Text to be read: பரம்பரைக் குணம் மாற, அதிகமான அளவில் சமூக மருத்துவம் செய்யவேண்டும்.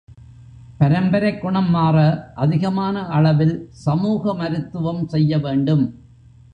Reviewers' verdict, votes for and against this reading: accepted, 2, 0